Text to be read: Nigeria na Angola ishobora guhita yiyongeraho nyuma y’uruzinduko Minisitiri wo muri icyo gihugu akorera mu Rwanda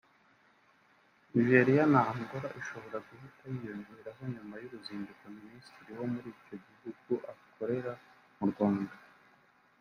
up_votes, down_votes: 1, 2